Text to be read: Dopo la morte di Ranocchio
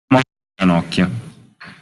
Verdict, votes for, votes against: rejected, 0, 2